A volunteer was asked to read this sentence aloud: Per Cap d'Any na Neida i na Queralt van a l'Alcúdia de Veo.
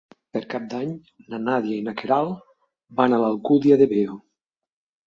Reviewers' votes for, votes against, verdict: 1, 2, rejected